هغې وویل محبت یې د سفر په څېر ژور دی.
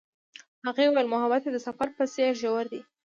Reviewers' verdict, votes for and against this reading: rejected, 0, 2